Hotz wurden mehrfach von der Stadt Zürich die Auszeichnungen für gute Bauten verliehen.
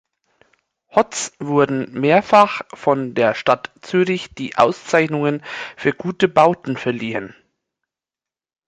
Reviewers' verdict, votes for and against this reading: accepted, 2, 0